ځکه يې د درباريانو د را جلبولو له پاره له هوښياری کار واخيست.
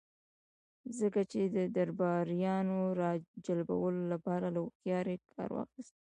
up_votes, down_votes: 2, 0